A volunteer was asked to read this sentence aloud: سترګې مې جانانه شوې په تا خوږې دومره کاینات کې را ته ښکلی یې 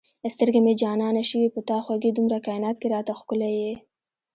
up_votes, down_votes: 1, 2